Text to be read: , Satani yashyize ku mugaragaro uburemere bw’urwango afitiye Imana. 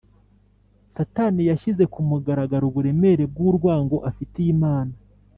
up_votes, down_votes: 2, 0